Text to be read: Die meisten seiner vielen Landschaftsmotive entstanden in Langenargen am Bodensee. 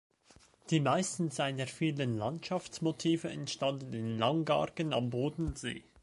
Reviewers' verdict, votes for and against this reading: rejected, 1, 2